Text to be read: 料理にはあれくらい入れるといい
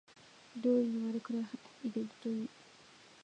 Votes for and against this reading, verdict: 2, 3, rejected